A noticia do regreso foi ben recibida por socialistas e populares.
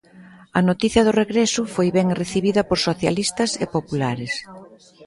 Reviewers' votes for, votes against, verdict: 1, 2, rejected